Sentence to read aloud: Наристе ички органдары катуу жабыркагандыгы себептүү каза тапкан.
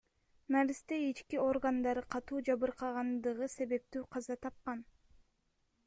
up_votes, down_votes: 1, 2